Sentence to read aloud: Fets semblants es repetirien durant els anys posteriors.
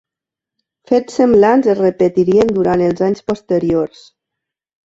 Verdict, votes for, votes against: accepted, 3, 0